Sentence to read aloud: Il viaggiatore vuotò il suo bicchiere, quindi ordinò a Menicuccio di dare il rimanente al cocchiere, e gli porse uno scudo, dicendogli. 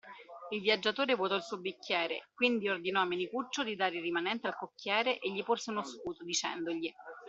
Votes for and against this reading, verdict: 2, 0, accepted